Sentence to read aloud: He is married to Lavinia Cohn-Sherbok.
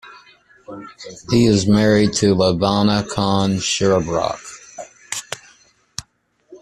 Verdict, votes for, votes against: rejected, 1, 2